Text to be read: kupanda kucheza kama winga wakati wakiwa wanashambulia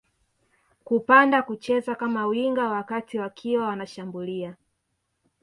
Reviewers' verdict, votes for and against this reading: accepted, 3, 0